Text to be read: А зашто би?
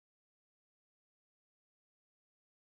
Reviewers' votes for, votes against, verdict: 0, 2, rejected